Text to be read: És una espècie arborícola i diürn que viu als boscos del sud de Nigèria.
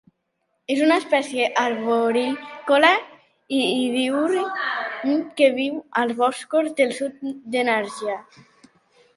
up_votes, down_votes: 0, 2